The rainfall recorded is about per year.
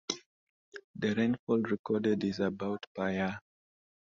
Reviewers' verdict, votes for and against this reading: accepted, 2, 0